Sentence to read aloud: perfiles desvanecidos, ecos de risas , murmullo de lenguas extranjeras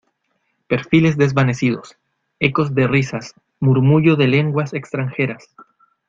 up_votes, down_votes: 2, 0